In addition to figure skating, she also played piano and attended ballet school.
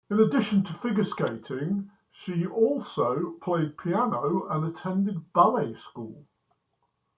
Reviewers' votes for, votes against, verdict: 0, 2, rejected